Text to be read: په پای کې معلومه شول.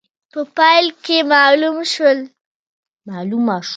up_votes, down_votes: 2, 0